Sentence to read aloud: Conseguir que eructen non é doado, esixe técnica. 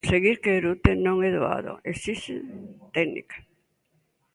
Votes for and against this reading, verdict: 0, 2, rejected